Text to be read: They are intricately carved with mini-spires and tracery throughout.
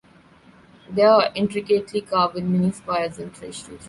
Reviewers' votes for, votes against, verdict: 0, 2, rejected